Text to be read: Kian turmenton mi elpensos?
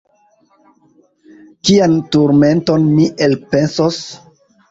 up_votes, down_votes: 1, 2